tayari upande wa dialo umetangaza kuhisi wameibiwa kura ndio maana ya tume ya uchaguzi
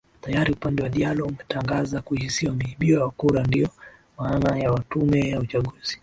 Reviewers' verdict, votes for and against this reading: rejected, 0, 2